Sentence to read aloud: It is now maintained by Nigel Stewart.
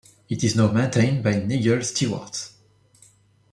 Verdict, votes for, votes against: rejected, 0, 2